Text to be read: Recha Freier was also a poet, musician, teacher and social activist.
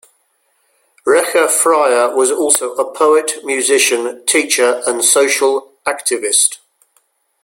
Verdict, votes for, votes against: accepted, 2, 0